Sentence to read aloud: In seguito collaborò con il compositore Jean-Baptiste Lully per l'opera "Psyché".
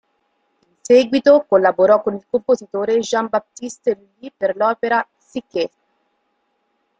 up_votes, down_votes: 0, 2